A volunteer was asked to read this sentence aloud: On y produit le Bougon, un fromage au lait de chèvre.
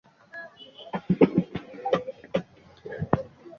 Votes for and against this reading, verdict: 0, 2, rejected